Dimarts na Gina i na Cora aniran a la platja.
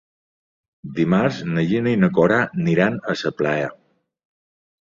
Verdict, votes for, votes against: rejected, 0, 2